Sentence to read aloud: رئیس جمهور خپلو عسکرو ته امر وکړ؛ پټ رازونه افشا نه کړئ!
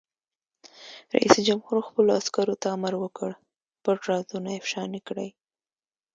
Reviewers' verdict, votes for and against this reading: accepted, 2, 0